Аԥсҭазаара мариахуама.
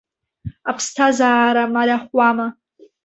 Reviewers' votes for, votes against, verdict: 1, 2, rejected